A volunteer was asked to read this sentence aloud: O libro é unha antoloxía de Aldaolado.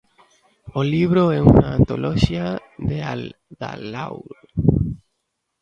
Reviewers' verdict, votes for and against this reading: rejected, 0, 2